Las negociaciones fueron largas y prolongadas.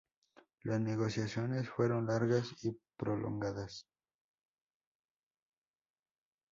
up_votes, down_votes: 2, 0